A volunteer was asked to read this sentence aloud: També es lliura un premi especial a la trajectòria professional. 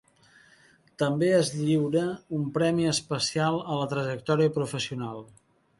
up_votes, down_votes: 2, 0